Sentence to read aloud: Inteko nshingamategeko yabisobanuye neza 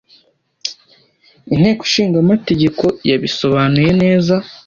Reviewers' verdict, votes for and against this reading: accepted, 2, 0